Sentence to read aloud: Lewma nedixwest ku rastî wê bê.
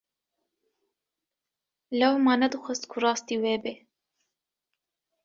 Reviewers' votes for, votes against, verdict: 2, 0, accepted